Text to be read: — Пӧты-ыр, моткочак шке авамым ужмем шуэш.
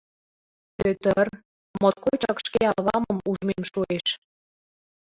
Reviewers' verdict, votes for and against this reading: accepted, 2, 0